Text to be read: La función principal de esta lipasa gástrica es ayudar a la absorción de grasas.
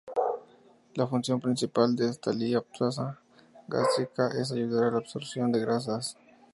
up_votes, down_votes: 2, 2